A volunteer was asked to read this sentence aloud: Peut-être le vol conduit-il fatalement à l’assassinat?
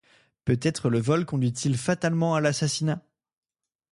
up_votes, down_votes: 2, 0